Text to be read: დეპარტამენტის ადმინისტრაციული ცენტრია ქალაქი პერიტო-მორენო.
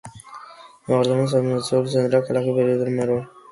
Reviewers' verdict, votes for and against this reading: rejected, 0, 2